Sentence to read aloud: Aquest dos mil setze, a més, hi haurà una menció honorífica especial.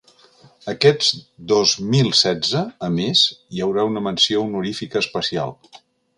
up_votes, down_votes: 0, 2